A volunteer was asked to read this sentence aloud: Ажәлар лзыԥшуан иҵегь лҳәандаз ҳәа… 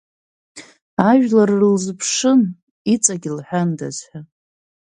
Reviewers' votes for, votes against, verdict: 0, 2, rejected